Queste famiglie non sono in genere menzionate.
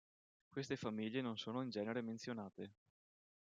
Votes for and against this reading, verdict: 2, 0, accepted